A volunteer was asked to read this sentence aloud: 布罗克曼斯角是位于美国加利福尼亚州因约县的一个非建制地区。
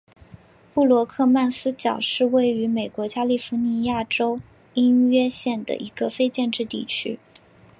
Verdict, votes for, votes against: accepted, 3, 0